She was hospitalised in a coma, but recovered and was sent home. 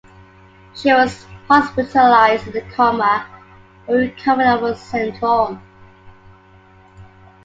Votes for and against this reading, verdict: 1, 2, rejected